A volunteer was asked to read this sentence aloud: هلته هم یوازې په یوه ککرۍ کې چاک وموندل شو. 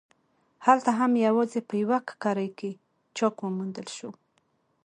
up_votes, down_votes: 2, 1